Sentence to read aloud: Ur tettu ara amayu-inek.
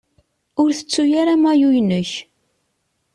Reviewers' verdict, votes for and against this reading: accepted, 3, 0